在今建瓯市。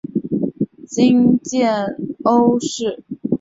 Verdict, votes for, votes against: accepted, 2, 0